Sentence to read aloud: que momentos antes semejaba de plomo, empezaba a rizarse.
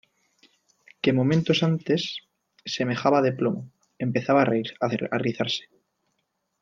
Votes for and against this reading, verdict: 1, 2, rejected